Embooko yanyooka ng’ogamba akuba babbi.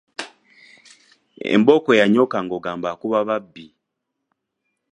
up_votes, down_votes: 2, 1